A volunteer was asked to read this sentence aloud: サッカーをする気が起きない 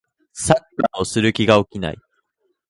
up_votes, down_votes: 2, 1